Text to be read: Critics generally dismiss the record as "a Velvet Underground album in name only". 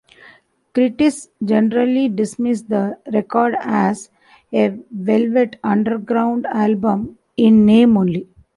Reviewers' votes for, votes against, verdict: 0, 2, rejected